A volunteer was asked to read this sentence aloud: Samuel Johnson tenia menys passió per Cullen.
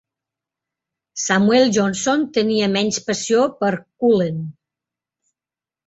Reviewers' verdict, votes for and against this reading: accepted, 2, 0